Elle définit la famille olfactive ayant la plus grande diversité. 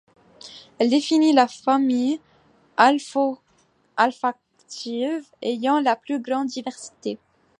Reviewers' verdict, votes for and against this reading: rejected, 1, 2